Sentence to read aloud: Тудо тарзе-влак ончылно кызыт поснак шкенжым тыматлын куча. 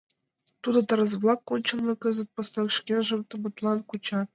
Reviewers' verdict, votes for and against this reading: rejected, 0, 2